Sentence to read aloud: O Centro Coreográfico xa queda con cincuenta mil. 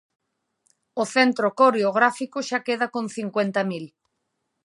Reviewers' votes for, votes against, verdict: 2, 0, accepted